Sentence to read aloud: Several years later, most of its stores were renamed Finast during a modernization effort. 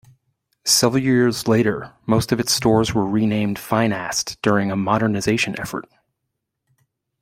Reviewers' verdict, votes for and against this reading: accepted, 2, 0